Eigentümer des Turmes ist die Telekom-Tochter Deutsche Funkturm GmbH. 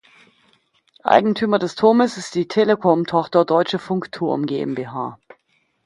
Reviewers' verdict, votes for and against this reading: accepted, 2, 0